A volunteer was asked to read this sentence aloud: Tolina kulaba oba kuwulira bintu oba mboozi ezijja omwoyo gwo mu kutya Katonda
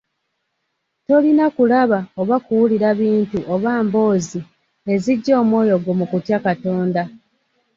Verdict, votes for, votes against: accepted, 2, 0